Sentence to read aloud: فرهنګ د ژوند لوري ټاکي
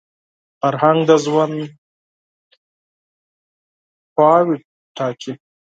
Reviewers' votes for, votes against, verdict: 0, 10, rejected